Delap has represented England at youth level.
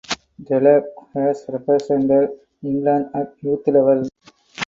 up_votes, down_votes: 4, 2